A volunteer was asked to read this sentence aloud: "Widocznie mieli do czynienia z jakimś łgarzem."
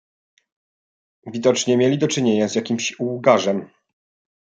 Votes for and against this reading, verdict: 2, 0, accepted